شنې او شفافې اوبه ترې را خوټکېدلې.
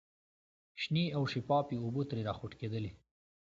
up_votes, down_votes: 2, 0